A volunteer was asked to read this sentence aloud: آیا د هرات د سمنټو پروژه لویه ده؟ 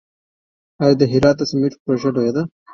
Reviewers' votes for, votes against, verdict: 1, 2, rejected